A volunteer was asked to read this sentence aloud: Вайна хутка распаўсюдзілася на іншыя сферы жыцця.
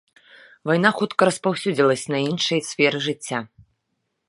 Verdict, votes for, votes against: accepted, 2, 0